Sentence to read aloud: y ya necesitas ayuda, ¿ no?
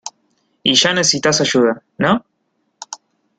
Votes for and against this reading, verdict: 1, 2, rejected